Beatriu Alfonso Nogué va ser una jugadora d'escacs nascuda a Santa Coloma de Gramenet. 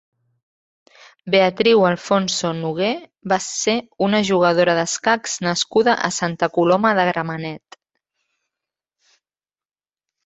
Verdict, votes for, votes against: accepted, 3, 0